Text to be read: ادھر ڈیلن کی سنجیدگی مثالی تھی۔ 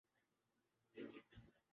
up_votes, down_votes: 0, 2